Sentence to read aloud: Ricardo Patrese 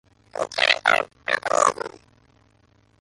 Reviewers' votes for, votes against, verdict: 0, 2, rejected